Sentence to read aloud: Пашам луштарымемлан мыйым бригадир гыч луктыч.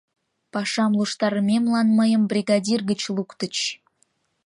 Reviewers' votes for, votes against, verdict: 2, 0, accepted